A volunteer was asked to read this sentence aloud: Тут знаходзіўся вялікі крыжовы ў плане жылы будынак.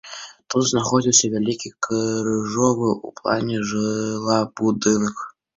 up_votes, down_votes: 0, 2